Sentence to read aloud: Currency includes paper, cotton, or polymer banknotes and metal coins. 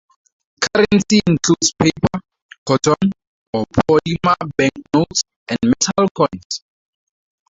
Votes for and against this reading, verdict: 0, 2, rejected